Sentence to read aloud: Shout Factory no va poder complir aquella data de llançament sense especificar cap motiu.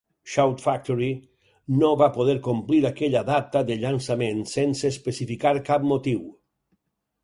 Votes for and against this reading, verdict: 4, 0, accepted